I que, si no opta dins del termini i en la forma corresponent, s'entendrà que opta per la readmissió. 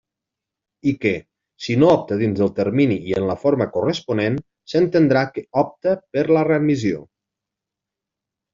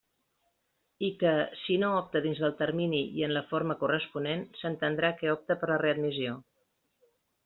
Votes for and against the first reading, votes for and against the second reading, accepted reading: 1, 2, 2, 0, second